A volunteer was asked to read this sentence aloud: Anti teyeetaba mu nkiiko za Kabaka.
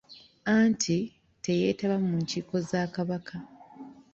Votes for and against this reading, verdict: 4, 1, accepted